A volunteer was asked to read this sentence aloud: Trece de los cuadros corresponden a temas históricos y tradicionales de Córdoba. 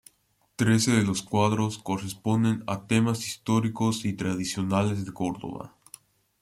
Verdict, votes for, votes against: accepted, 2, 0